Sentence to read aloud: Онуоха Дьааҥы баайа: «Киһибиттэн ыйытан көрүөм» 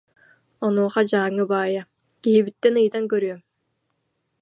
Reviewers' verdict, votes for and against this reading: accepted, 2, 0